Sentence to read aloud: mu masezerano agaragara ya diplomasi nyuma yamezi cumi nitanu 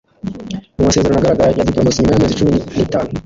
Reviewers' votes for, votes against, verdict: 1, 2, rejected